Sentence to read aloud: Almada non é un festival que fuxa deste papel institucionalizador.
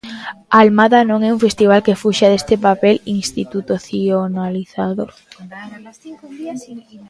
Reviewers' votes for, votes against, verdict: 0, 2, rejected